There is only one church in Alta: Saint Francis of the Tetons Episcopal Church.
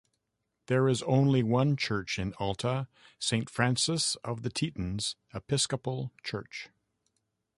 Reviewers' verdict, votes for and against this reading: accepted, 3, 0